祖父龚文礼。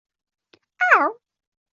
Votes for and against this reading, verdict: 0, 2, rejected